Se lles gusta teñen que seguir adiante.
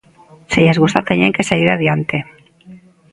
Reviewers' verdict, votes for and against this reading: accepted, 2, 0